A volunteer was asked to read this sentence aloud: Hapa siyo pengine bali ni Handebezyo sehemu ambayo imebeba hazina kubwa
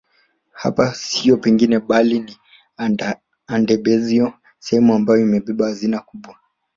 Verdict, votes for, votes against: rejected, 1, 2